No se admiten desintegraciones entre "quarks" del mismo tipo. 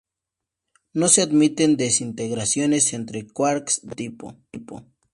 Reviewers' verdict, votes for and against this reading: rejected, 0, 4